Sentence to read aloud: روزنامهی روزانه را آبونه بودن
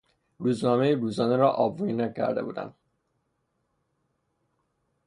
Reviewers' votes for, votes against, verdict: 0, 3, rejected